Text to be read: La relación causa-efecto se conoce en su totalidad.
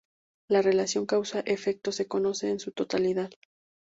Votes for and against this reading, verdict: 6, 0, accepted